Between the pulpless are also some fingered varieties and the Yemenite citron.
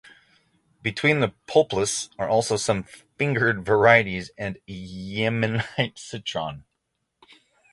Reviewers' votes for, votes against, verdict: 0, 3, rejected